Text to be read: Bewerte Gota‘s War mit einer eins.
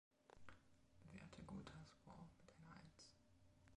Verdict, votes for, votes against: rejected, 0, 2